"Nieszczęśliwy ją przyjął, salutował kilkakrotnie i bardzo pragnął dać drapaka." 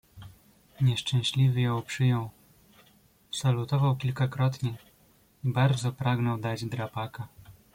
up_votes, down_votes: 2, 0